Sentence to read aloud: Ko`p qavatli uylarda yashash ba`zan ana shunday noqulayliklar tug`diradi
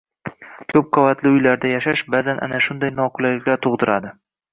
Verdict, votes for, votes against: rejected, 1, 2